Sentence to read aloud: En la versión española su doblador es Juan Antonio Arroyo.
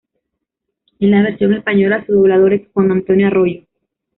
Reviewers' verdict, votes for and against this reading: accepted, 2, 1